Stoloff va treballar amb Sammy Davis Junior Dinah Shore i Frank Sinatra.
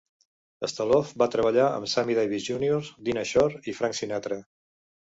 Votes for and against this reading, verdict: 2, 0, accepted